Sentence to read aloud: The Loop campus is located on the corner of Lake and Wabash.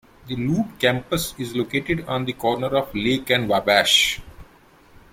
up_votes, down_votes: 2, 0